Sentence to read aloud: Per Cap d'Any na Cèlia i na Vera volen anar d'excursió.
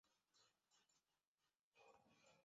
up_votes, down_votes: 0, 3